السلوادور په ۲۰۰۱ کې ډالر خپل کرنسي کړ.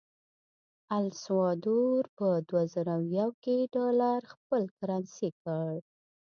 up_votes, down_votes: 0, 2